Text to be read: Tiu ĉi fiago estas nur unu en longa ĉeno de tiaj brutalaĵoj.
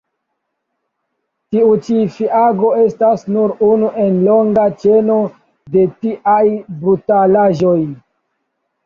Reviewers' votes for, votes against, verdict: 2, 1, accepted